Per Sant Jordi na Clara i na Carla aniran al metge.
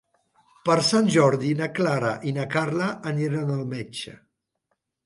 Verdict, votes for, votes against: accepted, 4, 0